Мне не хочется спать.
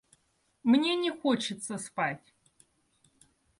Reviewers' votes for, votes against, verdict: 2, 0, accepted